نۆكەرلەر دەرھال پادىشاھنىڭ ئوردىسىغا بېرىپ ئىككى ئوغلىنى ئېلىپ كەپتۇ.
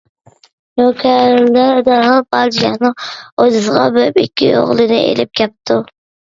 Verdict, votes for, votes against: rejected, 0, 2